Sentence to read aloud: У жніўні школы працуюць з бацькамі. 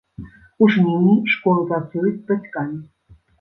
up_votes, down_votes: 2, 0